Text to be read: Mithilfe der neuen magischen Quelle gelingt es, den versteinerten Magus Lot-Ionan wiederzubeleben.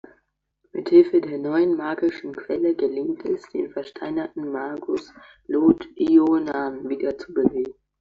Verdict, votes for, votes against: accepted, 2, 0